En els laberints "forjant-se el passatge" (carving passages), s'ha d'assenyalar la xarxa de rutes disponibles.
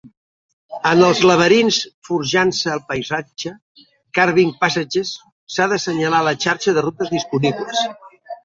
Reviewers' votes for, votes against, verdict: 0, 2, rejected